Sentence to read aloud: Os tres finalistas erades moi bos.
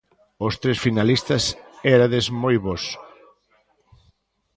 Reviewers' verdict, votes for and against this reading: rejected, 0, 2